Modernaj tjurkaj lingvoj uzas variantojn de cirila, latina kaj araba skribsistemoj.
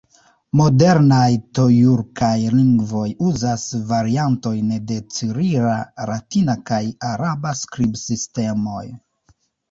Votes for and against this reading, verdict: 1, 2, rejected